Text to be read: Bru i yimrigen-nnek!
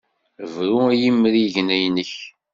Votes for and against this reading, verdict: 3, 0, accepted